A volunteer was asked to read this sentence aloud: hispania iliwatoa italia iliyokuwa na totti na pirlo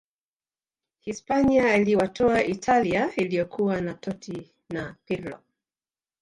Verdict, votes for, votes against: accepted, 2, 0